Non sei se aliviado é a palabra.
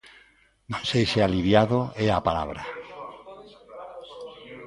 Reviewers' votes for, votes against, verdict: 2, 0, accepted